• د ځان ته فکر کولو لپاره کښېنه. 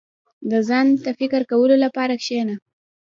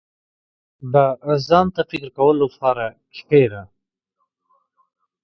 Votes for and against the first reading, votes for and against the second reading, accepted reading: 1, 2, 2, 0, second